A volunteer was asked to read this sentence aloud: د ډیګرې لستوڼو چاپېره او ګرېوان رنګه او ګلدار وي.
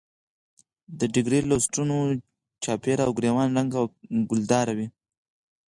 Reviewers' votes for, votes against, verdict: 4, 0, accepted